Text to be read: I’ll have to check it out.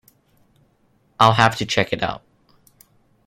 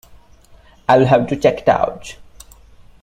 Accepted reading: first